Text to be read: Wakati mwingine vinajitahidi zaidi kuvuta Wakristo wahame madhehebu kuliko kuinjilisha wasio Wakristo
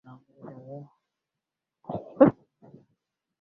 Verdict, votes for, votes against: rejected, 1, 2